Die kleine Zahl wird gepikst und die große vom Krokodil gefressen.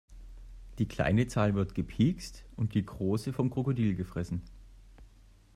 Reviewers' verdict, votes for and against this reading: accepted, 2, 0